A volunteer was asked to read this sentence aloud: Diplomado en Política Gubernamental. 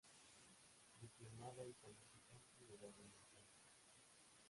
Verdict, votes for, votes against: rejected, 0, 3